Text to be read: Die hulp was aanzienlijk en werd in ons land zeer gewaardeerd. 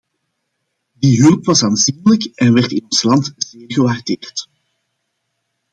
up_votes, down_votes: 1, 2